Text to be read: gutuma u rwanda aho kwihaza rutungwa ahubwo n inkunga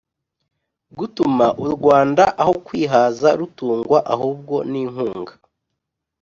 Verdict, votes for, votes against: accepted, 2, 0